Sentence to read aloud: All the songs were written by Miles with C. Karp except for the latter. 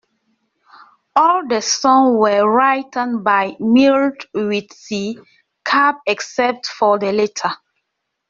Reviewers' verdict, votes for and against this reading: rejected, 1, 2